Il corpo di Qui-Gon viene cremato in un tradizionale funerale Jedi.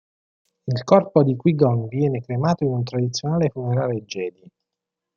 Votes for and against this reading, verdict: 2, 0, accepted